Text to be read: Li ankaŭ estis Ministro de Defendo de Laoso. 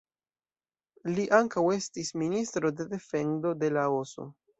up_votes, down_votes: 2, 0